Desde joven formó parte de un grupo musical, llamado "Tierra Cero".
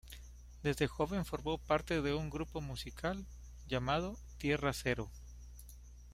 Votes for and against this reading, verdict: 2, 1, accepted